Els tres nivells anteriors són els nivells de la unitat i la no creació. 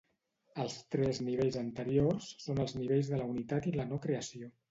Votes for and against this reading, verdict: 2, 0, accepted